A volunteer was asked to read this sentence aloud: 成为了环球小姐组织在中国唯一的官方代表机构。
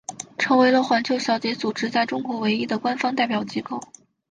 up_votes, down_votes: 7, 0